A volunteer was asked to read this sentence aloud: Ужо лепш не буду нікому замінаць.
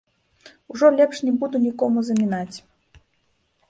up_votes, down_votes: 0, 2